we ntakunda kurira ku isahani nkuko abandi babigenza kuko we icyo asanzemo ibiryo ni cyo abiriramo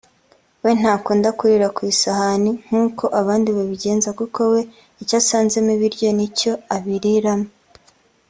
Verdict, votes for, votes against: accepted, 2, 0